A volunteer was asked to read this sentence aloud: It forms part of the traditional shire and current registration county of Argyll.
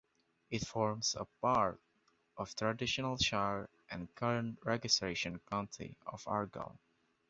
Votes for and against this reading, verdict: 0, 2, rejected